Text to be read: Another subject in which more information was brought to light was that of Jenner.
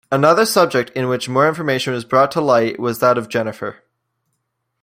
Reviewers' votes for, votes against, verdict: 1, 2, rejected